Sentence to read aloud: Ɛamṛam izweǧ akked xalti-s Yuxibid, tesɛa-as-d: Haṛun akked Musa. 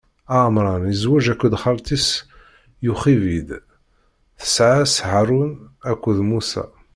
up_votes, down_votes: 0, 2